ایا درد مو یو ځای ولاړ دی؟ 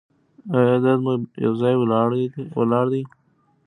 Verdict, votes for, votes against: accepted, 2, 1